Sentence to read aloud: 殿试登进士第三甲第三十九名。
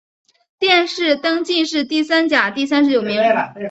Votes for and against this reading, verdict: 2, 0, accepted